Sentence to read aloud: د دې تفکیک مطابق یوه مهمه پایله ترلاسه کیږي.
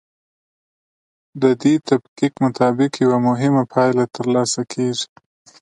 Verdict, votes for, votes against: accepted, 2, 0